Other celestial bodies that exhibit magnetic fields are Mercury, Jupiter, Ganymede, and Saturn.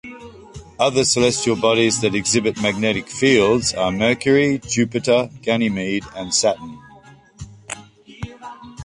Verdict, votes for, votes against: accepted, 2, 0